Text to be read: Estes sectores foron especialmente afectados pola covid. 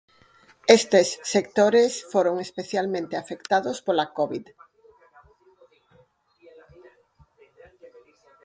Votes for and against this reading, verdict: 4, 0, accepted